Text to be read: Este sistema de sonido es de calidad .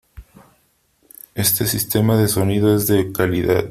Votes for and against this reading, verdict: 3, 0, accepted